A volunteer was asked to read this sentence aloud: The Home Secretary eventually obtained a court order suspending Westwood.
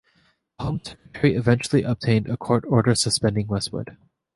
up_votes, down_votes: 0, 2